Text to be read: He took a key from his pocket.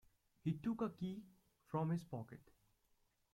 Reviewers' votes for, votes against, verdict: 2, 0, accepted